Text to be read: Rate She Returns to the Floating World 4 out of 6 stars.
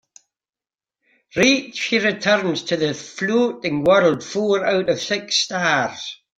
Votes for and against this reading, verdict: 0, 2, rejected